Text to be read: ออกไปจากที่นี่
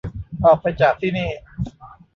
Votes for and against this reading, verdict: 1, 2, rejected